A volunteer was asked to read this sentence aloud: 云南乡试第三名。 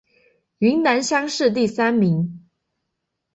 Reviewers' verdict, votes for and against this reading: accepted, 2, 0